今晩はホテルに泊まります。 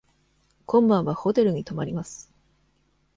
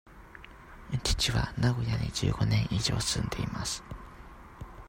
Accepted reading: first